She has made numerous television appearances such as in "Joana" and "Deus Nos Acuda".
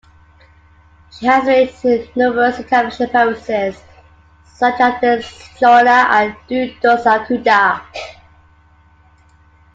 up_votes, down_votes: 1, 2